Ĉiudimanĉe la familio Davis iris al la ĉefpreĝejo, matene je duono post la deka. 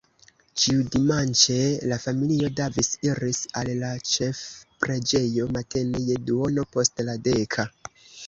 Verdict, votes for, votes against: rejected, 0, 2